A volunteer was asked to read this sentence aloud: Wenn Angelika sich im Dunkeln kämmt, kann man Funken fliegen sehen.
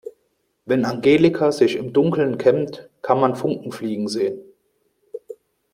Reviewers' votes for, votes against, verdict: 2, 0, accepted